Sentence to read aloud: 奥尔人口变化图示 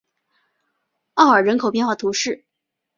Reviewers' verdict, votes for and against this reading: accepted, 5, 0